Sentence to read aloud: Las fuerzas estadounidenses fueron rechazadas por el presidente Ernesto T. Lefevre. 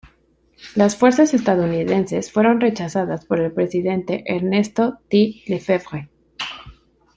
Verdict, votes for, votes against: rejected, 1, 2